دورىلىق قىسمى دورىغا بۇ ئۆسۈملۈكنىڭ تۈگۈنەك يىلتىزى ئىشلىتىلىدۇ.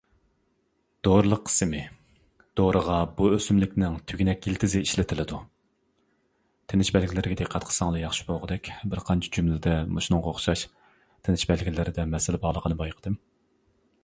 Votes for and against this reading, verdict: 0, 2, rejected